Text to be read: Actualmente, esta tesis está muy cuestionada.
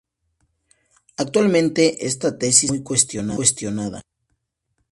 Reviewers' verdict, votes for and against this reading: rejected, 0, 2